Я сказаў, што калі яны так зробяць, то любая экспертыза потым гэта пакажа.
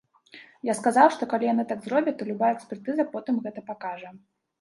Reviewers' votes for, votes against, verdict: 2, 0, accepted